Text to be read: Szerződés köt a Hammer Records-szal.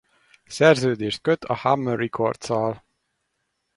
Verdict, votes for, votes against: rejected, 2, 2